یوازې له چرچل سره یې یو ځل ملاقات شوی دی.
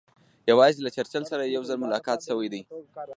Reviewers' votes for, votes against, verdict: 0, 2, rejected